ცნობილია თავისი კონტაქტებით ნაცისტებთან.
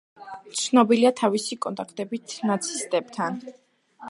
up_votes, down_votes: 2, 1